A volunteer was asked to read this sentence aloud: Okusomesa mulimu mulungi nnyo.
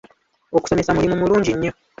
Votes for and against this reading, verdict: 1, 2, rejected